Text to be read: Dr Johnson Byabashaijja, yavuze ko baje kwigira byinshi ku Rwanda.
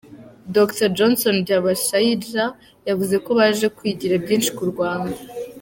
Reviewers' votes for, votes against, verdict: 2, 0, accepted